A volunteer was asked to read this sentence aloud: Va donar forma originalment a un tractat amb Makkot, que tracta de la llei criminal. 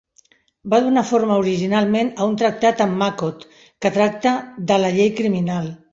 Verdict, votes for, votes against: accepted, 2, 0